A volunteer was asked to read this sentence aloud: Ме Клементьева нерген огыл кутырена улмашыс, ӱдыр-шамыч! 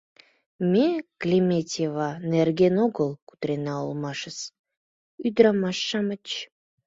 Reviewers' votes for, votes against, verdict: 2, 4, rejected